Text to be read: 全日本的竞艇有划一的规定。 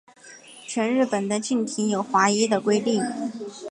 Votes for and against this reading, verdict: 2, 0, accepted